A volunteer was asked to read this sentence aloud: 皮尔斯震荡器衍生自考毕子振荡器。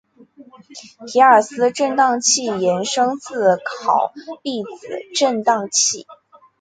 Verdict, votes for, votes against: accepted, 3, 0